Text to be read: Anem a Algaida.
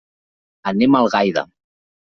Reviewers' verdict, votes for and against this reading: accepted, 3, 0